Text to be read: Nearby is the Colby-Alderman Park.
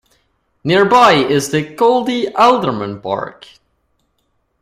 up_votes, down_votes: 1, 2